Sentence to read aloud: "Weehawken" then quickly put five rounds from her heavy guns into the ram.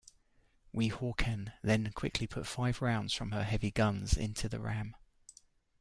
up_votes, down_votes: 1, 2